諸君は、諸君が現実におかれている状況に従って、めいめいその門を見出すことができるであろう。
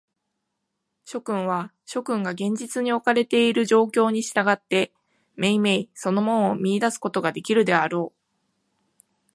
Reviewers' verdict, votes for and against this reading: accepted, 2, 0